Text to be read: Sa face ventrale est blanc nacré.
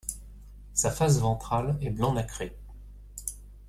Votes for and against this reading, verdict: 2, 0, accepted